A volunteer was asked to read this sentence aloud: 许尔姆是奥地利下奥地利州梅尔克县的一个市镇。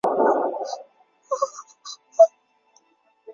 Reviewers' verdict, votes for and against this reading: rejected, 0, 3